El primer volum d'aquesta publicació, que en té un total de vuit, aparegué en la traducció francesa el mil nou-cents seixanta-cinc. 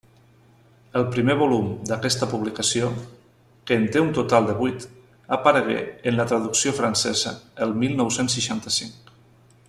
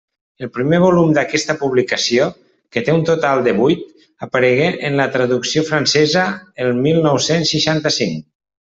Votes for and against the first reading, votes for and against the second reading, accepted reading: 3, 0, 0, 2, first